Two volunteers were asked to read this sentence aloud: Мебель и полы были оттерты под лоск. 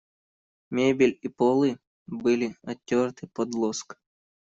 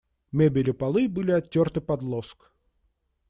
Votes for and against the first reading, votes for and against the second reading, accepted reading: 1, 2, 2, 0, second